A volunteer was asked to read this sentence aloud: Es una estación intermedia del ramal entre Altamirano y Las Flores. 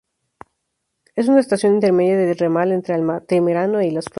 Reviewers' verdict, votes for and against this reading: rejected, 0, 2